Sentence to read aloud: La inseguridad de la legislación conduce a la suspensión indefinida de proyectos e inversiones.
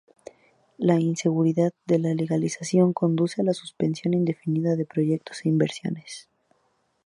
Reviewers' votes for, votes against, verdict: 2, 2, rejected